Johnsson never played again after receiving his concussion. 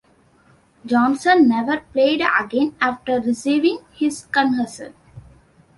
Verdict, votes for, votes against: rejected, 0, 2